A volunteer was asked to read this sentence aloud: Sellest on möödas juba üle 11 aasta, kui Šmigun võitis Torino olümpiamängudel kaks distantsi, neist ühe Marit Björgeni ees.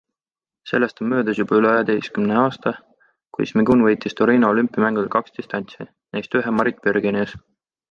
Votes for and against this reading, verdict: 0, 2, rejected